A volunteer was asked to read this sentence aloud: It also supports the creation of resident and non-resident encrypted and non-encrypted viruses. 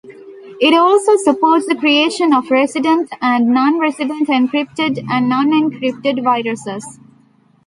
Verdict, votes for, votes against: accepted, 2, 0